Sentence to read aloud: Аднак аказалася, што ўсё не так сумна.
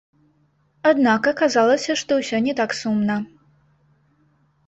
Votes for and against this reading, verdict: 1, 2, rejected